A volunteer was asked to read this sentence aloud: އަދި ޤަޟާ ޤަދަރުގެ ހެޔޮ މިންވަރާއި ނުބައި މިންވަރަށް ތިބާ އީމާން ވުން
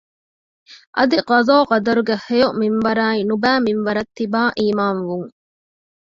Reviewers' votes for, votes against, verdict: 1, 2, rejected